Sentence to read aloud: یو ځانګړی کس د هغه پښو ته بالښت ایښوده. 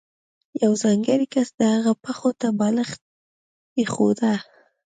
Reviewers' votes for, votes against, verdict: 2, 0, accepted